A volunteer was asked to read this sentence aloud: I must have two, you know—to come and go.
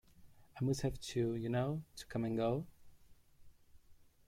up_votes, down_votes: 1, 2